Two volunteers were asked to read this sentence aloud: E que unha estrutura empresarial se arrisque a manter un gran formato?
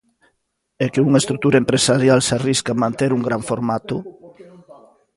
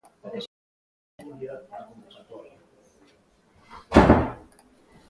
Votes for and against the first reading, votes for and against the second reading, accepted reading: 2, 0, 0, 2, first